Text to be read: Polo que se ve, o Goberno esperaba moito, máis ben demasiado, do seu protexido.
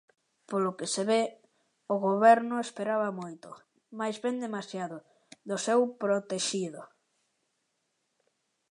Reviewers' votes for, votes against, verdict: 2, 0, accepted